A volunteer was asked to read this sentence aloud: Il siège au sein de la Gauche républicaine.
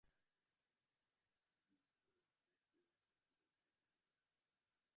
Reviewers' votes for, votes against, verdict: 0, 2, rejected